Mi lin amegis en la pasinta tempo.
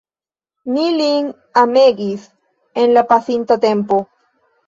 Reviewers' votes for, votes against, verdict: 1, 2, rejected